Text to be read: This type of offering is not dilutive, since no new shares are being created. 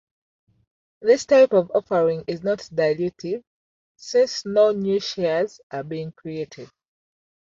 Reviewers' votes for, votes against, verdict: 2, 0, accepted